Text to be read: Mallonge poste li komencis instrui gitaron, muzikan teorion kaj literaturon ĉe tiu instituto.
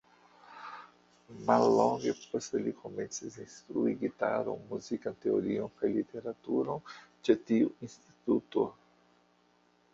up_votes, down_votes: 1, 2